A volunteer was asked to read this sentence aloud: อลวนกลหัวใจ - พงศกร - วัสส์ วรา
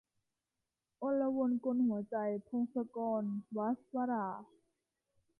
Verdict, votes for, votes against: rejected, 1, 3